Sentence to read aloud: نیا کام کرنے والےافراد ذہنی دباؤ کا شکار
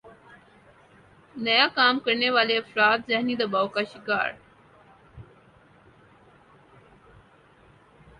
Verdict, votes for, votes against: accepted, 4, 0